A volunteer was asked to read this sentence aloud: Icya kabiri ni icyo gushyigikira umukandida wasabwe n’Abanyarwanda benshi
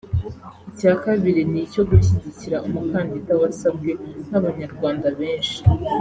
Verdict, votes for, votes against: accepted, 3, 0